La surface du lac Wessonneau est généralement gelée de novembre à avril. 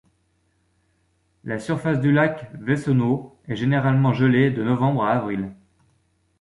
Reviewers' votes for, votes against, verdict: 0, 2, rejected